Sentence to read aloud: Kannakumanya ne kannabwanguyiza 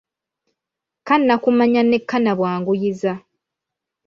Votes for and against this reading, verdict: 2, 0, accepted